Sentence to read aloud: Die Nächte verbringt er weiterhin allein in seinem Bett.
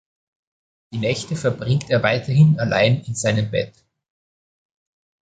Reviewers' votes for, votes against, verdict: 2, 0, accepted